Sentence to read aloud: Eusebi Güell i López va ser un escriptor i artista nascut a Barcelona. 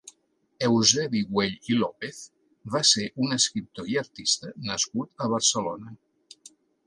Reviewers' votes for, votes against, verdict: 2, 0, accepted